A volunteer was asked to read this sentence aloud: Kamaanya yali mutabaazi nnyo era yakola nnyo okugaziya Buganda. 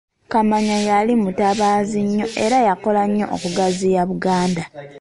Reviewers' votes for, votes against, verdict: 1, 2, rejected